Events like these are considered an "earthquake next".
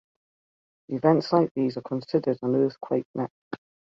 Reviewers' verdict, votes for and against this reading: rejected, 0, 2